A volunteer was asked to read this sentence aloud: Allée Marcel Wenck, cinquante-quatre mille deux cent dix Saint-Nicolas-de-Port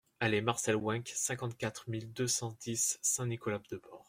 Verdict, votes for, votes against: accepted, 2, 0